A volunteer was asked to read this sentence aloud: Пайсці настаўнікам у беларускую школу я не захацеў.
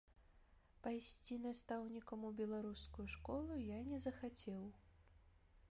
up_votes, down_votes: 1, 2